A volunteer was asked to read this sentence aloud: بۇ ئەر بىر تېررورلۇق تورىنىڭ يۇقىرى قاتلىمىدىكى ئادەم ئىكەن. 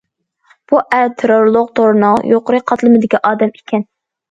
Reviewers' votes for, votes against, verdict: 0, 2, rejected